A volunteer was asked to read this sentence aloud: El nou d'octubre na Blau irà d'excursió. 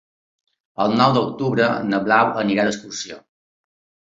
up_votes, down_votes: 0, 2